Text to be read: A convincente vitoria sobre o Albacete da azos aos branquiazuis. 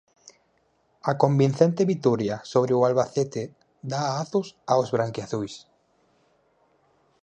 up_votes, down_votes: 4, 0